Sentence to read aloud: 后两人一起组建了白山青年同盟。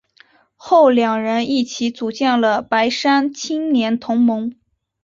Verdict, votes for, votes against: accepted, 3, 0